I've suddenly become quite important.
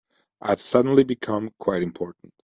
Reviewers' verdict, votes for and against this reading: accepted, 2, 1